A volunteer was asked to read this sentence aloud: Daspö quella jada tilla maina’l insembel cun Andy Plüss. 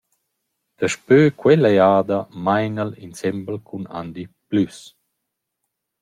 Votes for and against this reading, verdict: 0, 2, rejected